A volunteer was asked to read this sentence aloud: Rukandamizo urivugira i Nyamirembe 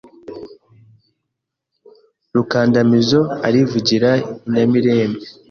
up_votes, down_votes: 1, 2